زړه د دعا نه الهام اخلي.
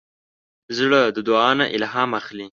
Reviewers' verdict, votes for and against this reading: accepted, 2, 0